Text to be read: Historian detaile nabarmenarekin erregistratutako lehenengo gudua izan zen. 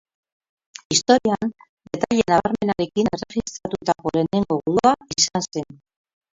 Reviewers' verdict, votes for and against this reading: rejected, 0, 4